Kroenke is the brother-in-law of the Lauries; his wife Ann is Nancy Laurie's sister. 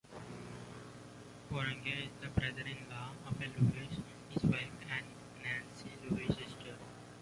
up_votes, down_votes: 0, 2